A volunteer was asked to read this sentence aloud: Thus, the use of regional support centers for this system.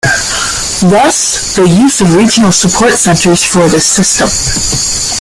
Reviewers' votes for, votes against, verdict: 2, 1, accepted